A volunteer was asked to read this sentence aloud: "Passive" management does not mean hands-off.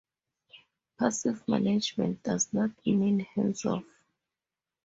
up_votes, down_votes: 2, 2